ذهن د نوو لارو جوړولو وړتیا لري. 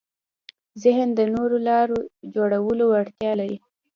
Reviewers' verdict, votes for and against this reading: rejected, 1, 2